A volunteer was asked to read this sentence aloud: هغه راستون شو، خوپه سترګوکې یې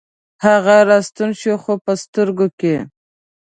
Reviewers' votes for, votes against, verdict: 0, 2, rejected